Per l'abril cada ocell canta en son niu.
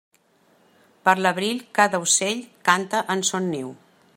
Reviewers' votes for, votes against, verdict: 2, 0, accepted